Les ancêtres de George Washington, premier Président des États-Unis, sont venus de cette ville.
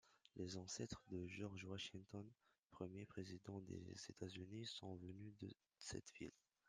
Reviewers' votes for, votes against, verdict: 0, 2, rejected